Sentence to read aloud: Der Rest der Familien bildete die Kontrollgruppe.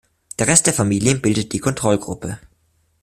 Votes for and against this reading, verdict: 1, 2, rejected